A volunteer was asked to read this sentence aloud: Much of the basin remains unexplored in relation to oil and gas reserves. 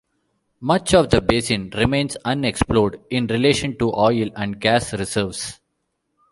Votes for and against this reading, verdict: 2, 0, accepted